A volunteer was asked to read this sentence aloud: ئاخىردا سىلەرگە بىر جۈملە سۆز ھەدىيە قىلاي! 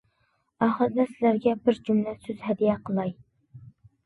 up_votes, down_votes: 2, 0